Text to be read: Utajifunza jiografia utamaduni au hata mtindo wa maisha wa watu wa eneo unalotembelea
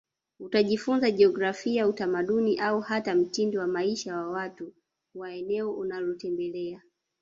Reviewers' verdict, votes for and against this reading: rejected, 0, 2